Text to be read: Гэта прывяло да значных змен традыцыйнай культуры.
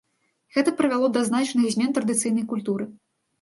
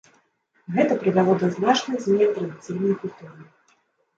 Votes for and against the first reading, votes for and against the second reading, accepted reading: 2, 0, 1, 2, first